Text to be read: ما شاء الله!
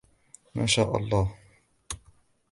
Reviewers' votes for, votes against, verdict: 2, 0, accepted